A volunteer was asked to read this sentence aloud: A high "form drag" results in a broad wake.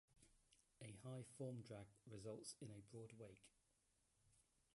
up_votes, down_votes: 0, 2